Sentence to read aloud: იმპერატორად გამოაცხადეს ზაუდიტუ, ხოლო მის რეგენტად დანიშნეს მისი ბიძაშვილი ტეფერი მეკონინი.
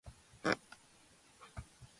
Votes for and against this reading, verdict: 0, 2, rejected